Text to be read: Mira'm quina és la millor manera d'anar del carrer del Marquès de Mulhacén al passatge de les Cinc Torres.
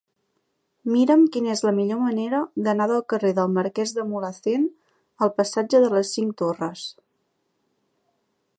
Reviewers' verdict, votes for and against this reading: accepted, 2, 0